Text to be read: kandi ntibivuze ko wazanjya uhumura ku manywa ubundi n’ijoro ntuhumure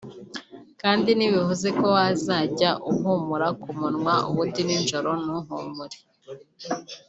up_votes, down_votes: 0, 2